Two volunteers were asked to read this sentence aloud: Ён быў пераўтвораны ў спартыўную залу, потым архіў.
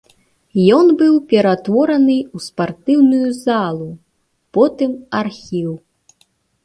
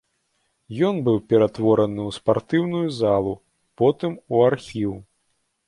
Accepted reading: first